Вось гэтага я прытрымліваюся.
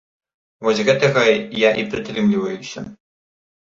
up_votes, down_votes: 0, 2